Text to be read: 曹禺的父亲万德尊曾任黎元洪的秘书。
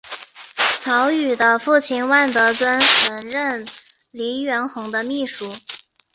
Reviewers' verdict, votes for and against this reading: accepted, 4, 1